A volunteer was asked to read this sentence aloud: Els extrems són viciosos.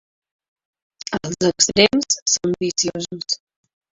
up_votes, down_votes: 2, 1